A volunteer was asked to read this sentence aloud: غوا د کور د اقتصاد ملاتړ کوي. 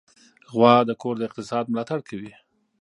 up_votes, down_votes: 2, 0